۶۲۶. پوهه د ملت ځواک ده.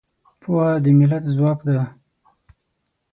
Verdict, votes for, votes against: rejected, 0, 2